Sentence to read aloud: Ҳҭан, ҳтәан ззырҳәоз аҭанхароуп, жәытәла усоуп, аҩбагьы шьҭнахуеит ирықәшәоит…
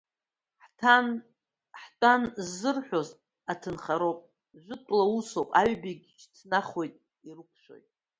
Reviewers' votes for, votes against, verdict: 0, 2, rejected